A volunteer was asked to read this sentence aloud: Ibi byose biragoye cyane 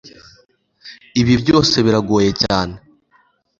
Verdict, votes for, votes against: accepted, 2, 0